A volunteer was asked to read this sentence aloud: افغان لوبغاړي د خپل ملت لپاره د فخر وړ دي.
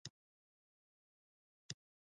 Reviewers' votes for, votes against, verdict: 0, 2, rejected